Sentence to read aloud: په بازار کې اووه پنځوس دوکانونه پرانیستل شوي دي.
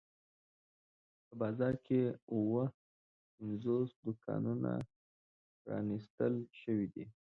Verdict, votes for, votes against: rejected, 1, 2